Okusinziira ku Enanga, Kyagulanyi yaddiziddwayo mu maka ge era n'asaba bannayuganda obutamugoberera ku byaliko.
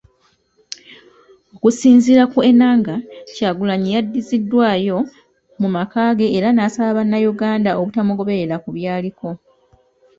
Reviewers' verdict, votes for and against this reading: accepted, 2, 0